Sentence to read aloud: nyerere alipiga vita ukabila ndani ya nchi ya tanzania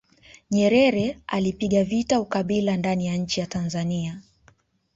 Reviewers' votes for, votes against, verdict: 2, 1, accepted